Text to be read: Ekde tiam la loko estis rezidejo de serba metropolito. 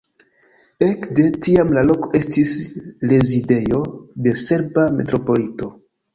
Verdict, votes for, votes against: accepted, 2, 0